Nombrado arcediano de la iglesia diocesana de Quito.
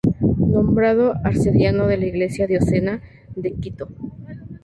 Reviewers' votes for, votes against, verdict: 0, 2, rejected